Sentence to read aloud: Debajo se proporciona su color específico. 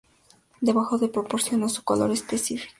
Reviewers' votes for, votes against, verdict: 0, 2, rejected